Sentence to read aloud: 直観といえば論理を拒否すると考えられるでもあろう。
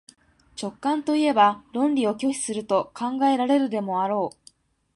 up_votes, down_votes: 2, 0